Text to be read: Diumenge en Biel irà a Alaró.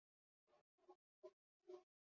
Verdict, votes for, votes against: rejected, 0, 2